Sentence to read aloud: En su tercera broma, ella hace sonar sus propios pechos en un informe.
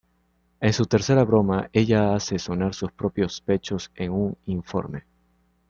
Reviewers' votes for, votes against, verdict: 2, 0, accepted